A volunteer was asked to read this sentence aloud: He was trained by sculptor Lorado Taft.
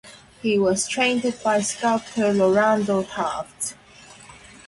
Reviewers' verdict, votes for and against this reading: accepted, 2, 0